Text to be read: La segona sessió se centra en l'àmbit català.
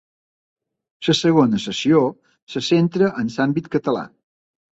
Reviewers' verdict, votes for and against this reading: rejected, 0, 2